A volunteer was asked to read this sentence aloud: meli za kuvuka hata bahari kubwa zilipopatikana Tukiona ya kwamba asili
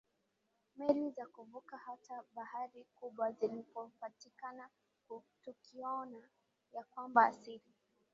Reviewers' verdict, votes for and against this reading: accepted, 2, 0